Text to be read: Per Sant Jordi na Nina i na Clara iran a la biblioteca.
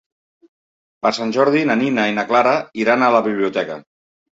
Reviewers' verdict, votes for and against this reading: accepted, 3, 0